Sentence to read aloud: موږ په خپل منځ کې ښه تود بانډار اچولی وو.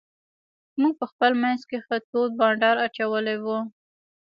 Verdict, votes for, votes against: rejected, 1, 2